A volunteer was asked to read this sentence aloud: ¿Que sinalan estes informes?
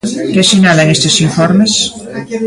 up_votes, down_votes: 2, 0